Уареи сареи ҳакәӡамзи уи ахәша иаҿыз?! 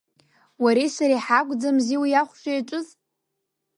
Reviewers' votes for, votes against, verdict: 2, 0, accepted